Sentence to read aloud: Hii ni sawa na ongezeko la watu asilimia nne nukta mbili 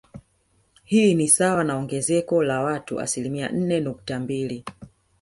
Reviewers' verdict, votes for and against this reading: rejected, 1, 2